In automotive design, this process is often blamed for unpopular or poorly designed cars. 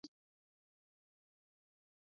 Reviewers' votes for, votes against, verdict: 0, 2, rejected